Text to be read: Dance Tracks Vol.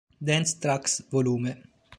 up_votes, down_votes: 2, 1